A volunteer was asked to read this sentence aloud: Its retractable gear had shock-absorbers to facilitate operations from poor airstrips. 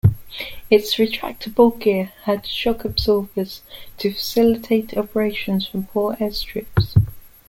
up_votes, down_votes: 2, 1